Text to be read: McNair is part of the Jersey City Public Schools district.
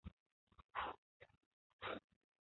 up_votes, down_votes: 0, 2